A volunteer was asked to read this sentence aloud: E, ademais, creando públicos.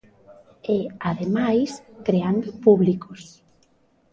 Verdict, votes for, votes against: rejected, 1, 2